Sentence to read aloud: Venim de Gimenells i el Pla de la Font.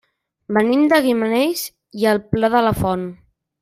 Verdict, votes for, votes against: rejected, 1, 2